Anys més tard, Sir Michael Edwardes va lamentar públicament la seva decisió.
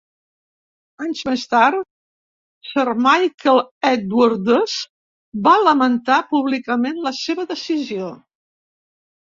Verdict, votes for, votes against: accepted, 2, 0